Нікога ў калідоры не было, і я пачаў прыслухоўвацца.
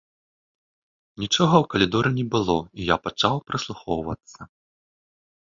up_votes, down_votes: 0, 3